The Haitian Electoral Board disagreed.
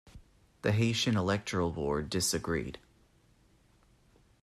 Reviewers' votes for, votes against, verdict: 2, 0, accepted